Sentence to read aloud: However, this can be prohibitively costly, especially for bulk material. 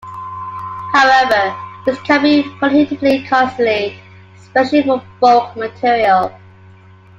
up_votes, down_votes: 2, 0